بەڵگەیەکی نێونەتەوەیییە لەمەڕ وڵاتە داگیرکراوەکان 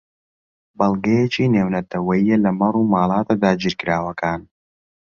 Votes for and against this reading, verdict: 1, 2, rejected